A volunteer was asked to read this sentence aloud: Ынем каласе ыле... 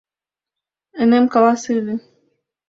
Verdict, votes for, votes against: accepted, 2, 0